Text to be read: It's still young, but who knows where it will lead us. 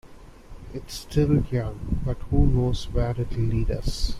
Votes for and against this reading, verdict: 0, 2, rejected